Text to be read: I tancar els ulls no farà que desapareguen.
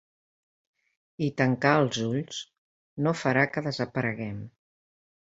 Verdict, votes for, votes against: rejected, 1, 2